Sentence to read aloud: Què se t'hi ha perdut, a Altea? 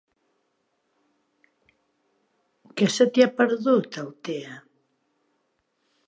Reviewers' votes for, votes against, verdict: 1, 2, rejected